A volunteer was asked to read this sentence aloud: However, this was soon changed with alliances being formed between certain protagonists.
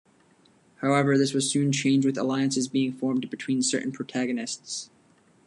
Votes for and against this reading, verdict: 0, 2, rejected